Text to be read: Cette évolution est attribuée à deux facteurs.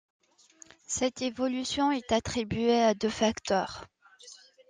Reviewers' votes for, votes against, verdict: 2, 0, accepted